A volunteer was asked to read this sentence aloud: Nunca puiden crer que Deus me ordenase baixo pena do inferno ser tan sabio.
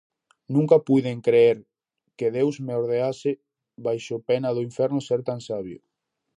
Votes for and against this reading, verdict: 0, 4, rejected